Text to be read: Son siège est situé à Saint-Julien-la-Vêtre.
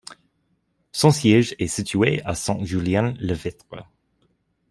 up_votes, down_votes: 0, 2